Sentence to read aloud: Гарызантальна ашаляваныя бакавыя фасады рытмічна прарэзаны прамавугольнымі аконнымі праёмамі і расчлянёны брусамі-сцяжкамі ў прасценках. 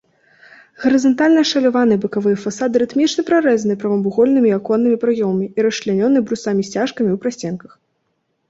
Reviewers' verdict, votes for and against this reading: accepted, 2, 0